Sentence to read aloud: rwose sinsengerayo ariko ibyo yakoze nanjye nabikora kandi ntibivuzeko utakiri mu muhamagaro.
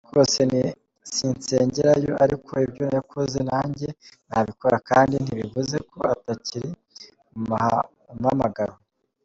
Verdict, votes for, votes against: rejected, 1, 2